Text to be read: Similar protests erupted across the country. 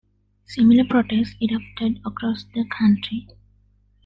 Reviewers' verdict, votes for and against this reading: accepted, 2, 0